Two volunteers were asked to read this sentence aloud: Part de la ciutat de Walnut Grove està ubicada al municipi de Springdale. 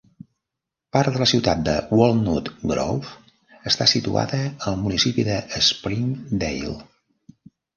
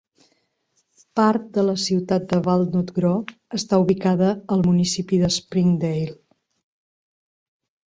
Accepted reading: second